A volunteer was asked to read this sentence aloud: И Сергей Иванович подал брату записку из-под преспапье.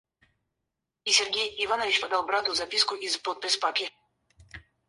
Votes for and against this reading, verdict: 0, 4, rejected